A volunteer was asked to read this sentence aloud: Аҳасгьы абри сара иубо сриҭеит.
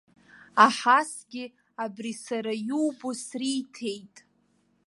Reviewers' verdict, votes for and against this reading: accepted, 2, 1